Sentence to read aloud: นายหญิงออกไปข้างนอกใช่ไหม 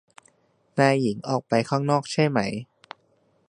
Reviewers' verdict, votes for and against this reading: accepted, 2, 1